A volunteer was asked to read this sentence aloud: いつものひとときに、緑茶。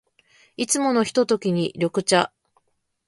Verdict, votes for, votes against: accepted, 2, 0